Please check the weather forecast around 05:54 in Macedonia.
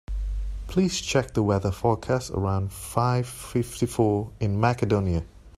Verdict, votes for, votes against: rejected, 0, 2